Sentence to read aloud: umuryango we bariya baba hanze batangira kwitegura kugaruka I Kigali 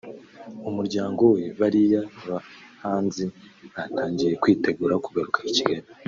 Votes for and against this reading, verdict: 1, 2, rejected